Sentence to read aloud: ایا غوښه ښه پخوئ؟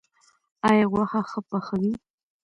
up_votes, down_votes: 2, 0